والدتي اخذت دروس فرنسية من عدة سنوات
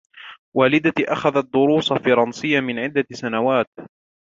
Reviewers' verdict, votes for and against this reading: accepted, 2, 1